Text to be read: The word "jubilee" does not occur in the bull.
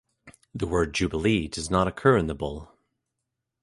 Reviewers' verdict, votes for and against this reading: accepted, 2, 1